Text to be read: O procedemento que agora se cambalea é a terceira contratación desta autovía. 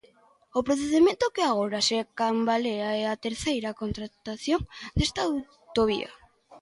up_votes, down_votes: 2, 0